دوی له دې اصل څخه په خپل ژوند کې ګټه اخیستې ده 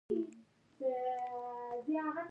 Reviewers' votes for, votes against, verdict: 1, 2, rejected